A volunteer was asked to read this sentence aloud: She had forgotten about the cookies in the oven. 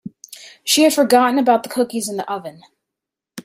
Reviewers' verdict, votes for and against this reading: accepted, 2, 0